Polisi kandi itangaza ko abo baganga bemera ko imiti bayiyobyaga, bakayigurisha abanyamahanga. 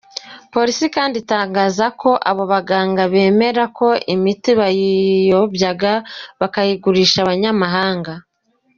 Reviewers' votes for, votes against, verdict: 2, 0, accepted